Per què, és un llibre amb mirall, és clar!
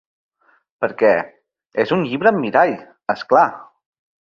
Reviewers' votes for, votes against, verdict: 2, 0, accepted